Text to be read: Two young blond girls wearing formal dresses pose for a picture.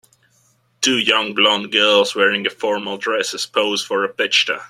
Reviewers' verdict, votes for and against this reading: rejected, 1, 2